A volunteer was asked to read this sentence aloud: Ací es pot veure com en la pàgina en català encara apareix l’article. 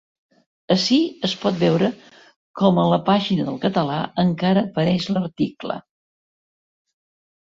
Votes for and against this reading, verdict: 1, 2, rejected